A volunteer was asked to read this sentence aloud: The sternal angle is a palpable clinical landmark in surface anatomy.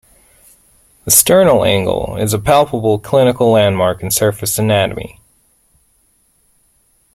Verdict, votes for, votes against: accepted, 2, 0